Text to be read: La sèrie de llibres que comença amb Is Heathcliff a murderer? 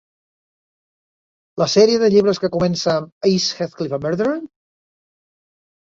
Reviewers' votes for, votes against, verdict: 1, 2, rejected